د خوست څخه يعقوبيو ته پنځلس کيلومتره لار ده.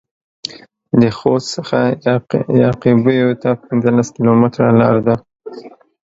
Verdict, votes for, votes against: accepted, 2, 1